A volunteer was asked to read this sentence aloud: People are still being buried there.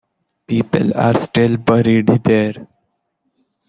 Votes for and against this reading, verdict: 1, 2, rejected